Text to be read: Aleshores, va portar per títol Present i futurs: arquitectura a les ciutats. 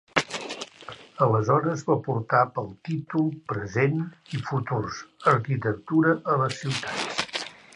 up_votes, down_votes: 1, 2